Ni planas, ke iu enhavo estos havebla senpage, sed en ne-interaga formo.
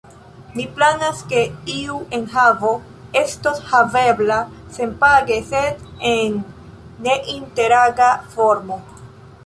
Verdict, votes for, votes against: accepted, 2, 0